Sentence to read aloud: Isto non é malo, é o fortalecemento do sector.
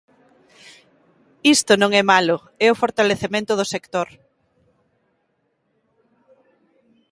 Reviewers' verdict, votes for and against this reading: accepted, 2, 0